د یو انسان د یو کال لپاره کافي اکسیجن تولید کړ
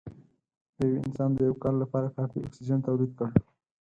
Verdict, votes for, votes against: rejected, 2, 4